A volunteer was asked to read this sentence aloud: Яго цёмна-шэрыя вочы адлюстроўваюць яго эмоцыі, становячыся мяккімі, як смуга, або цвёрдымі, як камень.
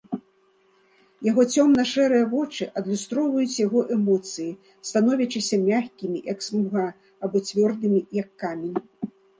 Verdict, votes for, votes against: rejected, 0, 2